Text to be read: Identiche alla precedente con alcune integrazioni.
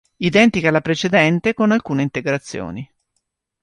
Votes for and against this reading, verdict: 2, 0, accepted